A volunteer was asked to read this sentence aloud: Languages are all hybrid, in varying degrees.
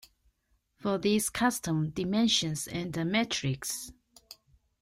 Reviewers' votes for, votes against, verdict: 0, 3, rejected